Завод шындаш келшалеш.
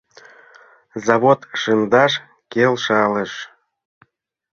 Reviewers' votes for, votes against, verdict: 2, 3, rejected